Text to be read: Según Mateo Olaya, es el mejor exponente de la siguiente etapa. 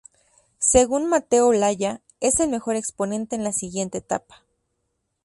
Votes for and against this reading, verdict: 2, 0, accepted